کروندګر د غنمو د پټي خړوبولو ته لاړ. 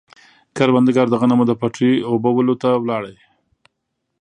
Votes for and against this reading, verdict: 1, 2, rejected